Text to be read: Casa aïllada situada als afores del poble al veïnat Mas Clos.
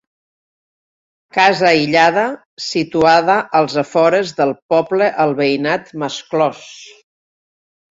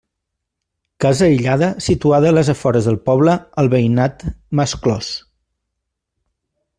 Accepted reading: first